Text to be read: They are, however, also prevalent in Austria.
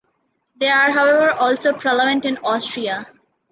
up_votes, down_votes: 1, 2